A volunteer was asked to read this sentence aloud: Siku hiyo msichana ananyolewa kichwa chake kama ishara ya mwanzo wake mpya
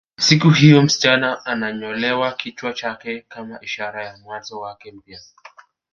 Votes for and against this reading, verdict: 2, 0, accepted